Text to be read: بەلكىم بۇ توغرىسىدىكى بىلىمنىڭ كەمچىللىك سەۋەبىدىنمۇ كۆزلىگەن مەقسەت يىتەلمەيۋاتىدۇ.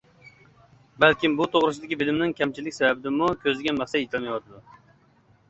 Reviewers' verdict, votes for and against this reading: accepted, 2, 0